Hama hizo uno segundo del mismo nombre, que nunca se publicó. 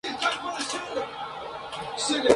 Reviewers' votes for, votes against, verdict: 0, 2, rejected